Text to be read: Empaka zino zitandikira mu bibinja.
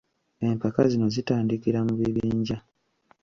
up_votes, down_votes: 2, 1